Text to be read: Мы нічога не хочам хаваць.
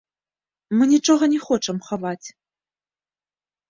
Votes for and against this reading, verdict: 2, 1, accepted